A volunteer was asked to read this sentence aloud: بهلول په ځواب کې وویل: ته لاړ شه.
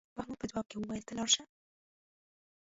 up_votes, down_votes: 1, 2